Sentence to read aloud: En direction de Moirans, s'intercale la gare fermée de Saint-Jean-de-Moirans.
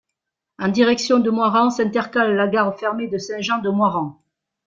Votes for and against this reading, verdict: 2, 1, accepted